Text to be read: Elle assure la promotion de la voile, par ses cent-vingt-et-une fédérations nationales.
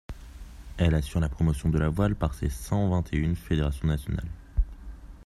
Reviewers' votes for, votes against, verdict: 2, 0, accepted